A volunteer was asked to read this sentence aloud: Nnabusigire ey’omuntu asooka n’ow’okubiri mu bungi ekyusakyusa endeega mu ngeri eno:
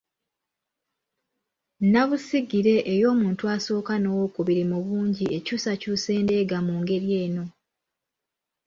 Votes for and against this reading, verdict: 2, 0, accepted